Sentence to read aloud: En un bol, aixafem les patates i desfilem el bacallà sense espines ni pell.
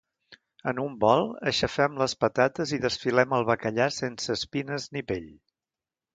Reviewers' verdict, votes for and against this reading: accepted, 2, 0